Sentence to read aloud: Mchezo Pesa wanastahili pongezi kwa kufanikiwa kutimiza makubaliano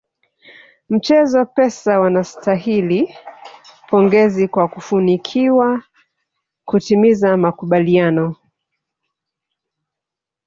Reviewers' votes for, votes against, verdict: 0, 2, rejected